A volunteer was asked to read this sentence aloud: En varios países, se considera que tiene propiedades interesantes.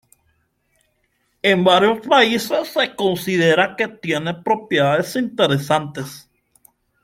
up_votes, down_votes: 2, 0